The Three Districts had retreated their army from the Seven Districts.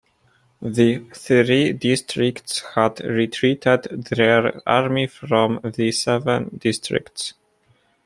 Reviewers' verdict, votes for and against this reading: accepted, 2, 0